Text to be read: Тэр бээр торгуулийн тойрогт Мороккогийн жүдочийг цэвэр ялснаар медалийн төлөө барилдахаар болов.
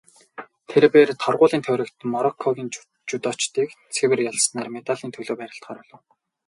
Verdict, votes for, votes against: rejected, 0, 2